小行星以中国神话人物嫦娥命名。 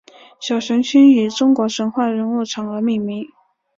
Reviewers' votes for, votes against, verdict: 3, 0, accepted